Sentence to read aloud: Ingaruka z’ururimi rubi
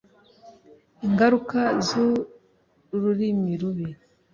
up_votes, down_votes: 2, 0